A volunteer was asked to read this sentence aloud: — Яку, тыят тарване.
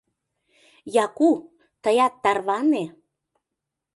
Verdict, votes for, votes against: accepted, 2, 0